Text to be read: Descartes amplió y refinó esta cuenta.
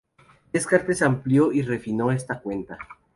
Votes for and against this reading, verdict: 0, 2, rejected